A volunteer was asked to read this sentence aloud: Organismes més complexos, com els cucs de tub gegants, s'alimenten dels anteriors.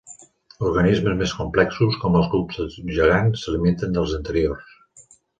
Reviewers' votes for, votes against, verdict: 2, 0, accepted